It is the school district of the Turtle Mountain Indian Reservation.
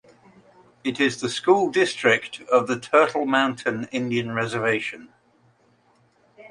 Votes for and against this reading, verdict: 2, 0, accepted